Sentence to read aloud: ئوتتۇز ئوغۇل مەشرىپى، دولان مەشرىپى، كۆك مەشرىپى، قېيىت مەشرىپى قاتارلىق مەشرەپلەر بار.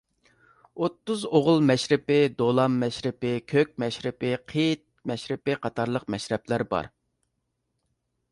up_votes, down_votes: 2, 0